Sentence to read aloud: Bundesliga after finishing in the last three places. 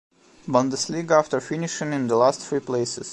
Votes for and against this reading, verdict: 1, 2, rejected